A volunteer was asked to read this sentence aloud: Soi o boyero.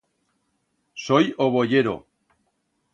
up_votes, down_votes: 2, 0